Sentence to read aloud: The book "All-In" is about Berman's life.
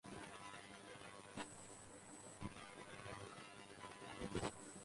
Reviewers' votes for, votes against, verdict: 0, 2, rejected